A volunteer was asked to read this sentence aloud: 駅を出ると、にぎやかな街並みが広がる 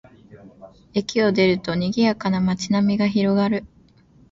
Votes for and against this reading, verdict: 2, 1, accepted